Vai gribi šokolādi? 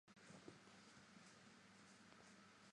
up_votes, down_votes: 0, 2